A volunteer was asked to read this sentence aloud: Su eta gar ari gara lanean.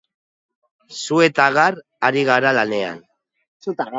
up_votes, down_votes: 2, 1